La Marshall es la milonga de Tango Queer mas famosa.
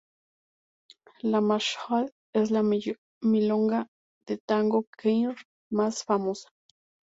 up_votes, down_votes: 0, 2